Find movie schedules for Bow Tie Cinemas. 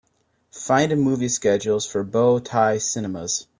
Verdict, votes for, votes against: rejected, 1, 2